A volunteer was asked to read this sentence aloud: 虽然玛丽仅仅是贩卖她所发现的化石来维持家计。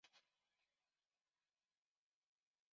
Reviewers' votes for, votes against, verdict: 0, 3, rejected